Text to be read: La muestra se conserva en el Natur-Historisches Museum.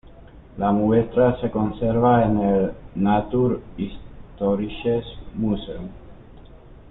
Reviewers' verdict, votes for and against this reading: accepted, 2, 1